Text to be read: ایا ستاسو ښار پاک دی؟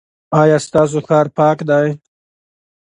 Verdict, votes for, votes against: accepted, 2, 0